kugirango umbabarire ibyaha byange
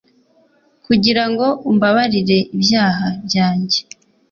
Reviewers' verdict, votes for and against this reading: accepted, 2, 0